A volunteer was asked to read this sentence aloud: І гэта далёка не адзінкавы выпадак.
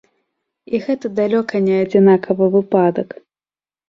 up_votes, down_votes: 1, 2